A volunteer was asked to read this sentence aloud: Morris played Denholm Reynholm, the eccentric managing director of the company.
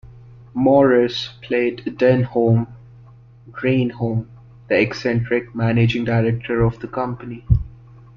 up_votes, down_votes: 2, 0